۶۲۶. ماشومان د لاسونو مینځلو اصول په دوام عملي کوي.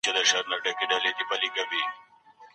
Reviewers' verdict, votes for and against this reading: rejected, 0, 2